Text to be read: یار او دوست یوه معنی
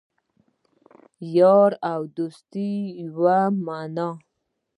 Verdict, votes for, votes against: rejected, 1, 2